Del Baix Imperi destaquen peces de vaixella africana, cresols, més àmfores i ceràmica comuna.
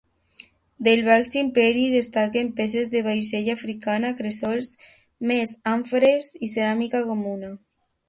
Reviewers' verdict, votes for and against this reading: accepted, 2, 0